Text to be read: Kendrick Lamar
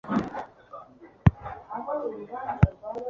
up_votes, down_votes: 0, 2